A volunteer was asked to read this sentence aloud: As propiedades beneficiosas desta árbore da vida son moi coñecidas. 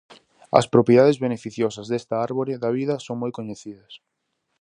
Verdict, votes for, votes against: accepted, 4, 0